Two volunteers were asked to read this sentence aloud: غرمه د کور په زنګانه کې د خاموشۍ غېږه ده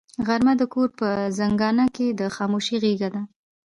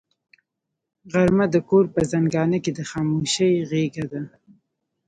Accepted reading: second